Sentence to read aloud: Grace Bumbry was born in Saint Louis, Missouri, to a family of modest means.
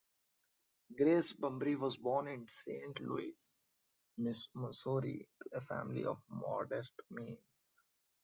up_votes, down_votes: 0, 2